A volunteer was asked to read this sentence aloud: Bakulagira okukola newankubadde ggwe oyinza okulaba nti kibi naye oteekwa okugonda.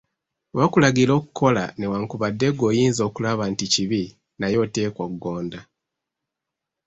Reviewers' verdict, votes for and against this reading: rejected, 1, 2